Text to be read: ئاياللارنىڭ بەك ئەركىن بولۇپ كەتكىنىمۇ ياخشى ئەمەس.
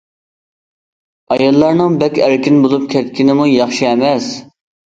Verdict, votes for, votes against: accepted, 2, 0